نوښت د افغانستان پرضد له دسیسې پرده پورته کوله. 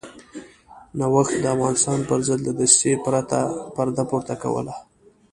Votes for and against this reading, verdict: 0, 2, rejected